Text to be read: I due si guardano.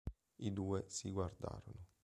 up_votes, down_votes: 1, 3